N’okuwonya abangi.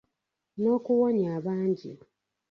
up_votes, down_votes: 2, 1